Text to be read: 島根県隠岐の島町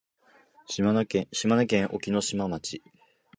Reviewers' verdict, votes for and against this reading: accepted, 2, 0